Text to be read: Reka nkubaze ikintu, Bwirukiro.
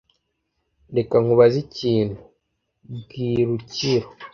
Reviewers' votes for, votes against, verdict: 2, 0, accepted